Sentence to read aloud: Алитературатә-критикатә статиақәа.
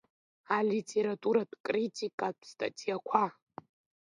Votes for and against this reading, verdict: 2, 0, accepted